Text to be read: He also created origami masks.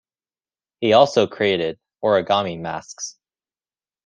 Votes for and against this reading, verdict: 2, 0, accepted